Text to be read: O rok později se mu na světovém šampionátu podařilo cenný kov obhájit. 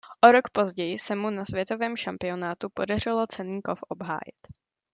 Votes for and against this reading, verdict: 2, 0, accepted